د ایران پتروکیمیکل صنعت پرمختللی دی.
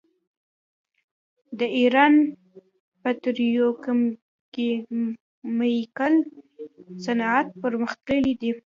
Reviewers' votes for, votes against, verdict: 0, 2, rejected